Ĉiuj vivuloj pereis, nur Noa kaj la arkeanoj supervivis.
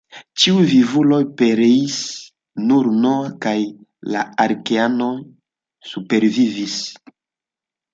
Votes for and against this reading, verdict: 2, 1, accepted